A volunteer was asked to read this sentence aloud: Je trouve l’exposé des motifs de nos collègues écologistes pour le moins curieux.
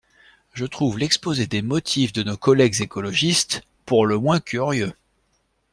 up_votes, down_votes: 2, 0